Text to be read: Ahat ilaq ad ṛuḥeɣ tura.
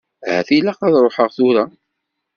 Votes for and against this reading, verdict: 2, 0, accepted